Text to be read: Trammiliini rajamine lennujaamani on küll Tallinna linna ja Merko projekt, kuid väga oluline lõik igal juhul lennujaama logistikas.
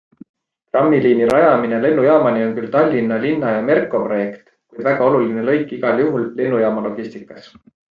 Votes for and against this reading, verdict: 2, 0, accepted